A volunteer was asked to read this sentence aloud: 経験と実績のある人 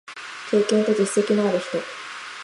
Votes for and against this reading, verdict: 4, 0, accepted